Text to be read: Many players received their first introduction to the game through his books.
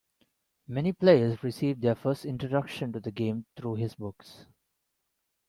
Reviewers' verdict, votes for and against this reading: accepted, 2, 0